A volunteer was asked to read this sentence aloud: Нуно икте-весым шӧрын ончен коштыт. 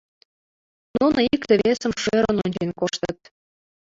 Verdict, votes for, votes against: accepted, 2, 0